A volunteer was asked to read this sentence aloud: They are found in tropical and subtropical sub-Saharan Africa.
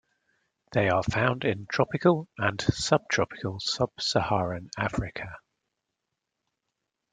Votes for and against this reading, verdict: 0, 2, rejected